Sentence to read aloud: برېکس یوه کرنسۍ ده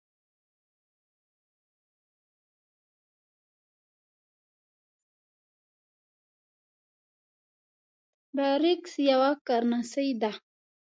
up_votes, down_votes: 0, 2